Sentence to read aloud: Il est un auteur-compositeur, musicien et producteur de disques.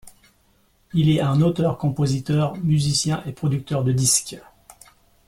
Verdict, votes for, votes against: rejected, 0, 2